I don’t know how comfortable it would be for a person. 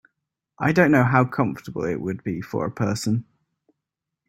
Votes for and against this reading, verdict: 3, 0, accepted